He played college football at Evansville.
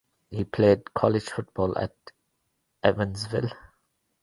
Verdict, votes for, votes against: accepted, 2, 0